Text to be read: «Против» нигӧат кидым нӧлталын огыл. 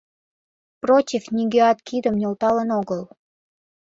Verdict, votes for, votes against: rejected, 1, 2